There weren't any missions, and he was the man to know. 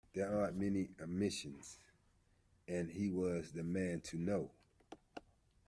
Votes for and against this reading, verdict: 0, 2, rejected